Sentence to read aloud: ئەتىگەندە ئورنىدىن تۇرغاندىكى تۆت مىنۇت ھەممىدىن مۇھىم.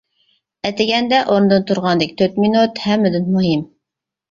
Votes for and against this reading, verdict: 2, 0, accepted